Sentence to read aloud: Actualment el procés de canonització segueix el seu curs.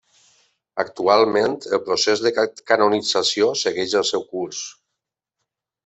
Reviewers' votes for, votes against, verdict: 3, 1, accepted